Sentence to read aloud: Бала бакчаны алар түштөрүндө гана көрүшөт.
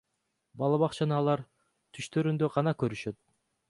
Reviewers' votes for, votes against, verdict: 2, 0, accepted